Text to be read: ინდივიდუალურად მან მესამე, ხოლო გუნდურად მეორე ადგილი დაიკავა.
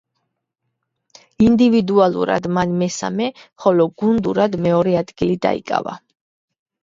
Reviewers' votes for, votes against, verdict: 2, 0, accepted